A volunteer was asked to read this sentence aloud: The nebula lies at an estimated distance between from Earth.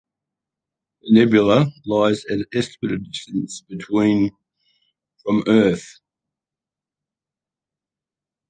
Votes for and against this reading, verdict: 0, 2, rejected